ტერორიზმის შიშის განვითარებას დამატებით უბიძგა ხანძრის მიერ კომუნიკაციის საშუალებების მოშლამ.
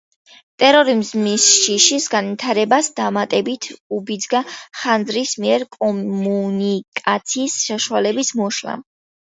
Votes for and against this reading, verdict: 2, 1, accepted